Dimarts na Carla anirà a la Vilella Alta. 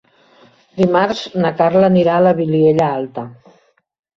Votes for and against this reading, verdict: 0, 2, rejected